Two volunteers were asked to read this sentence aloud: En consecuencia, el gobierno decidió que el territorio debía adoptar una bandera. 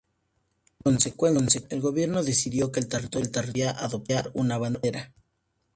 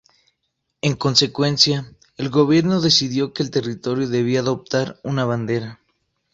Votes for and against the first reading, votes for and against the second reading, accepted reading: 0, 4, 2, 0, second